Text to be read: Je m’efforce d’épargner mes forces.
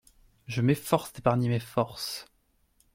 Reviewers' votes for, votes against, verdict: 0, 2, rejected